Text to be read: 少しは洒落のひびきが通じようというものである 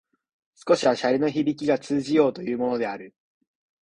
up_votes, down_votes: 2, 0